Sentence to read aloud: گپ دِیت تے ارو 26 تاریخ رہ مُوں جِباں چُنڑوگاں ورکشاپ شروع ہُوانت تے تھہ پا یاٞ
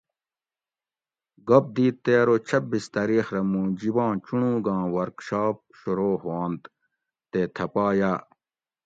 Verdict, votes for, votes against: rejected, 0, 2